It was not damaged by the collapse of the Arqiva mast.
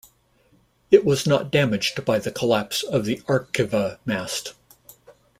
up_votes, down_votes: 2, 0